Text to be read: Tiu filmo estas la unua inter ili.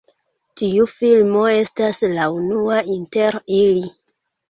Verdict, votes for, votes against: accepted, 2, 1